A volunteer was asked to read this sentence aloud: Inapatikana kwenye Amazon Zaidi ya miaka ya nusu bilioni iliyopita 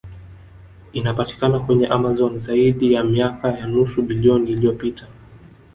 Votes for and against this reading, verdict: 2, 0, accepted